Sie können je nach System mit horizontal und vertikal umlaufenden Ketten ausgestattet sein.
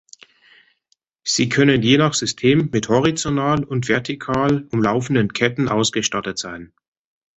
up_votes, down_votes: 1, 2